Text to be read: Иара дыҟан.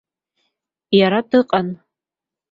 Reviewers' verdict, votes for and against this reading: accepted, 2, 0